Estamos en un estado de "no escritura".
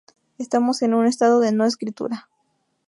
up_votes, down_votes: 2, 0